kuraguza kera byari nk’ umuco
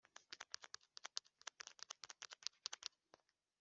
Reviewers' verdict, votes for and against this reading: rejected, 0, 2